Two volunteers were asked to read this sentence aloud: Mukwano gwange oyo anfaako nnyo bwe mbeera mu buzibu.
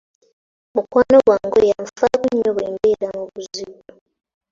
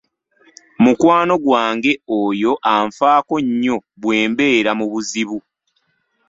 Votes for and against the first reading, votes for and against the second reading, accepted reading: 0, 2, 2, 0, second